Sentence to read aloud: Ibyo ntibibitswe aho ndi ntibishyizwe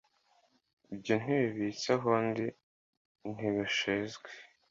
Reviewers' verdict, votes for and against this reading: accepted, 2, 0